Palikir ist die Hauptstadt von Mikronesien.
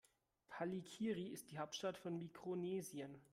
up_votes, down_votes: 0, 2